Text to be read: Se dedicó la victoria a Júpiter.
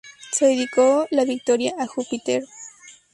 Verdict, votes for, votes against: accepted, 6, 0